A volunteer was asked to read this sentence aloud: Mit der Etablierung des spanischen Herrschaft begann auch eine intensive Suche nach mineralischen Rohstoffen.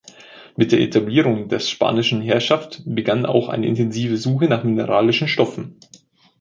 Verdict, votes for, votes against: rejected, 1, 2